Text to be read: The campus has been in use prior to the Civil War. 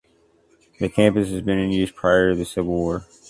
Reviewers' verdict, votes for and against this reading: accepted, 2, 0